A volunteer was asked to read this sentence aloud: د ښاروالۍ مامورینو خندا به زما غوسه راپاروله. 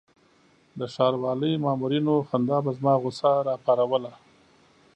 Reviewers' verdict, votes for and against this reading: accepted, 2, 0